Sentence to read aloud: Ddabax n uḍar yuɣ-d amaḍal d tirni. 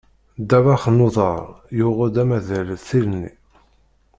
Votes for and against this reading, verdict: 0, 2, rejected